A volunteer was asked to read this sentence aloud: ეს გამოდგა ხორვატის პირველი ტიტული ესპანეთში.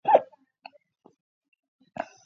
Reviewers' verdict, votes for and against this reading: rejected, 0, 2